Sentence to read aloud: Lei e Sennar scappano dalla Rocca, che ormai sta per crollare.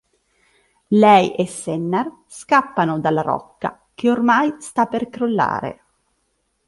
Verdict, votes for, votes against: accepted, 2, 0